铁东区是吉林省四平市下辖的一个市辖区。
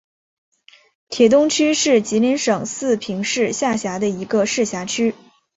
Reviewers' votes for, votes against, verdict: 2, 0, accepted